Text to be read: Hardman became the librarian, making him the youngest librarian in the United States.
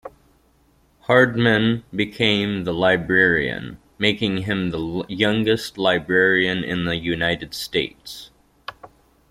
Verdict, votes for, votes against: accepted, 2, 0